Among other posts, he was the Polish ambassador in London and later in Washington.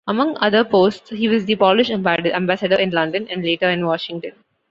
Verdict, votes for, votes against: rejected, 1, 2